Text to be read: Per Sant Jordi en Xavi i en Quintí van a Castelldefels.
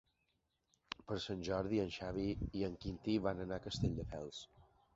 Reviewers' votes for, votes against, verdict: 2, 3, rejected